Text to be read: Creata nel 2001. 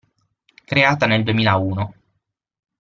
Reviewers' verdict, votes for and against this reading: rejected, 0, 2